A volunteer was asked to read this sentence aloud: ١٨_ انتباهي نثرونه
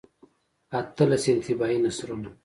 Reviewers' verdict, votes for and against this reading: rejected, 0, 2